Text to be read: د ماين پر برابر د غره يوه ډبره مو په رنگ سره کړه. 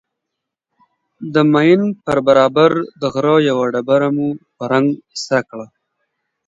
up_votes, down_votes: 2, 0